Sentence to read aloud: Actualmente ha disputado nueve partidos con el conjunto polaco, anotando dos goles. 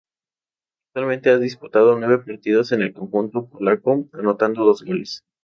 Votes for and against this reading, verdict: 2, 0, accepted